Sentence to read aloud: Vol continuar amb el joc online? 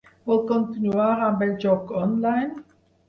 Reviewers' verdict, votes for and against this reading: accepted, 4, 0